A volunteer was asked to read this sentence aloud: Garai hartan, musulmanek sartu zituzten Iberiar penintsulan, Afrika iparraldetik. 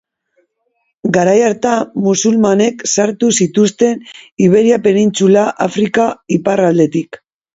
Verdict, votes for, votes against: rejected, 1, 2